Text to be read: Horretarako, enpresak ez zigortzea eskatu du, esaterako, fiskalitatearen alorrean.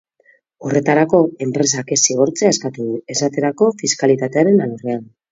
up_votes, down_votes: 4, 0